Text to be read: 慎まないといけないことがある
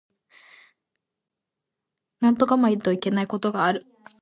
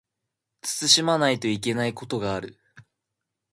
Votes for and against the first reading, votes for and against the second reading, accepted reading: 0, 2, 2, 0, second